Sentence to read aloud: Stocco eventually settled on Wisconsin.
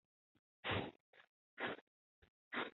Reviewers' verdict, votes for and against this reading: rejected, 0, 2